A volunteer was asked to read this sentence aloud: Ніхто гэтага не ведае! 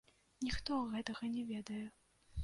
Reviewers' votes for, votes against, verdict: 2, 0, accepted